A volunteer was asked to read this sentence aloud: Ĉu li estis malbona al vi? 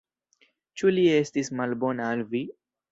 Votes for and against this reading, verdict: 1, 2, rejected